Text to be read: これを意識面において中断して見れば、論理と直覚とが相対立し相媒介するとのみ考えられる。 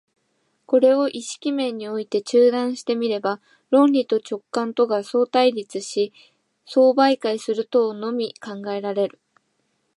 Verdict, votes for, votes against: accepted, 5, 2